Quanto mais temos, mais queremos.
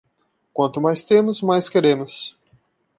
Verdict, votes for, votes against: accepted, 2, 0